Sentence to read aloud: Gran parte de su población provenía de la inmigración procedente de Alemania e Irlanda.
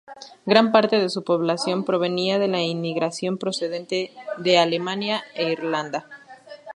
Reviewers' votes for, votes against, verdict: 2, 0, accepted